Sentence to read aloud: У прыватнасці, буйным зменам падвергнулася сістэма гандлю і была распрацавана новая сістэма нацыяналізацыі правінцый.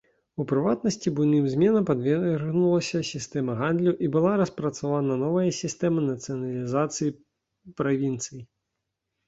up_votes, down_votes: 2, 0